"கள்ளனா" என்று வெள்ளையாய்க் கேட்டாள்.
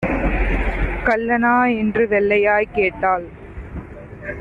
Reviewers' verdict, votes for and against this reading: accepted, 2, 0